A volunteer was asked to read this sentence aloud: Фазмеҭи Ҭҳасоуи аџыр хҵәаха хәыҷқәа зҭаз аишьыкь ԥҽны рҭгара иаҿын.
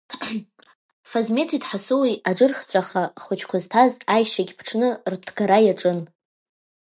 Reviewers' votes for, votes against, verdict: 0, 2, rejected